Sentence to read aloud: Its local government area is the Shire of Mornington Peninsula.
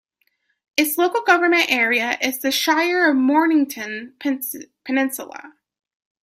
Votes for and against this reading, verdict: 0, 2, rejected